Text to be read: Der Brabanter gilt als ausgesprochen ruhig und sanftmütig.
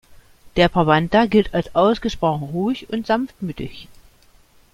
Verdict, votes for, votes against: accepted, 2, 0